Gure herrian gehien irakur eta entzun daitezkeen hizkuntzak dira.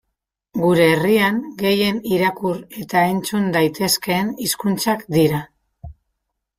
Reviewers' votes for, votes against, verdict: 1, 2, rejected